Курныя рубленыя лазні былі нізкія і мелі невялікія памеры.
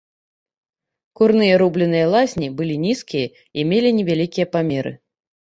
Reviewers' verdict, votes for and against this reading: accepted, 2, 0